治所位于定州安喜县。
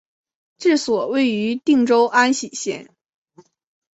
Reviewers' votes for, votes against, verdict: 2, 0, accepted